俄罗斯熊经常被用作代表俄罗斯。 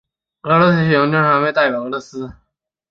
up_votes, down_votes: 1, 6